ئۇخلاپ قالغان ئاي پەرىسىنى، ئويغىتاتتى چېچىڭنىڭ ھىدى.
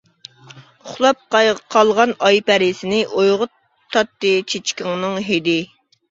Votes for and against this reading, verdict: 0, 2, rejected